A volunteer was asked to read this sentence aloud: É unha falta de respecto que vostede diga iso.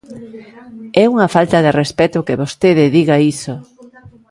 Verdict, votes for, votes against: rejected, 1, 2